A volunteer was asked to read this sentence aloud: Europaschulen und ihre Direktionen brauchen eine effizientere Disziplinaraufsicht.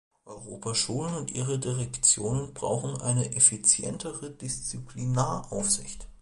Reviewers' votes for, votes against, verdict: 2, 0, accepted